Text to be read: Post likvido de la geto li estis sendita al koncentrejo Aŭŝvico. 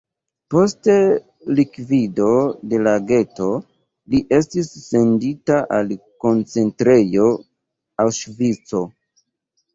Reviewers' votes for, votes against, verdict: 2, 0, accepted